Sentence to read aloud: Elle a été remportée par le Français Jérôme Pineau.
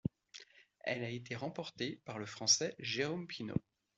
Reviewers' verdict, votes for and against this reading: accepted, 2, 0